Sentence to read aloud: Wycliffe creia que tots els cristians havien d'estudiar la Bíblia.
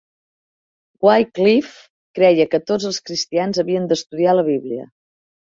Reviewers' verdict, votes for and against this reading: accepted, 3, 0